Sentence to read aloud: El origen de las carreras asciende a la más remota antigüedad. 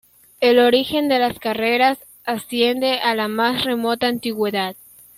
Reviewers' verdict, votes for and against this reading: accepted, 2, 0